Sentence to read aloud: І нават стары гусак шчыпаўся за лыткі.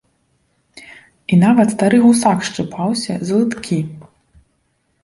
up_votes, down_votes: 0, 2